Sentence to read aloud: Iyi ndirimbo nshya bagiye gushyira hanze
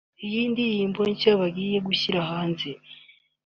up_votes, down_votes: 2, 0